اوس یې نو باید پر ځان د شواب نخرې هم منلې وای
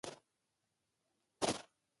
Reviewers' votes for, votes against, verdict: 0, 2, rejected